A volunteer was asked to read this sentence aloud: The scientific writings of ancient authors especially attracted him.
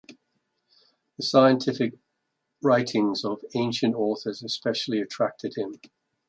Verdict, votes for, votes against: accepted, 2, 0